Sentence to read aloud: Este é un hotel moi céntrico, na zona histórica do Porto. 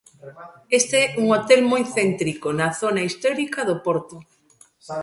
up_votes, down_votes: 1, 2